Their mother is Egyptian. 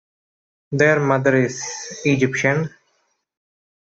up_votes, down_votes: 2, 0